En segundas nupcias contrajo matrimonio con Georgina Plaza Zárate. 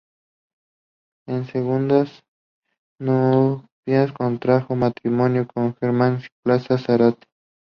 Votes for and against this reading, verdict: 2, 0, accepted